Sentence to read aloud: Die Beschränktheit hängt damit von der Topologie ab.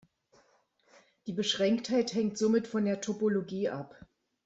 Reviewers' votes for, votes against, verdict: 1, 2, rejected